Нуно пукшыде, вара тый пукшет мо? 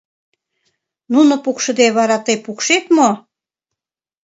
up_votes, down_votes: 2, 0